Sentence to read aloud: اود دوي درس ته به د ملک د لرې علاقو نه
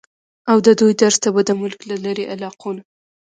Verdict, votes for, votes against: rejected, 1, 2